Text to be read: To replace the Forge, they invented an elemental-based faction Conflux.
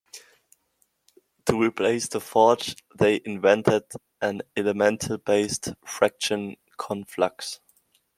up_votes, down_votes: 1, 2